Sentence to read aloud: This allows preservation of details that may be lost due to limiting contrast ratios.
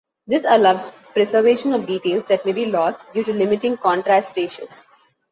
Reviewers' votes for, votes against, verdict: 2, 0, accepted